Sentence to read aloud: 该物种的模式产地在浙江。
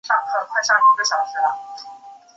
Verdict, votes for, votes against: rejected, 1, 2